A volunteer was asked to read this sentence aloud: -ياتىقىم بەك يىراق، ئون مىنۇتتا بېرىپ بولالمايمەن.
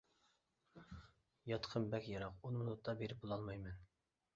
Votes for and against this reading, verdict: 2, 0, accepted